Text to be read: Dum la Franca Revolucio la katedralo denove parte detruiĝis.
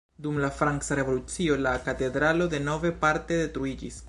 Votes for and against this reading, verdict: 1, 2, rejected